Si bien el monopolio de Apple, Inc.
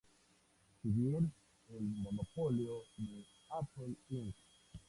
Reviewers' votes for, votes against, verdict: 2, 0, accepted